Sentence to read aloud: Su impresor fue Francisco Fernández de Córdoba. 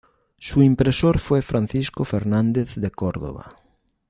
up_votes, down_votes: 2, 0